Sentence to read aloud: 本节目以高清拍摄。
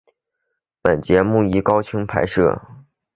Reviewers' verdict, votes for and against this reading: accepted, 2, 1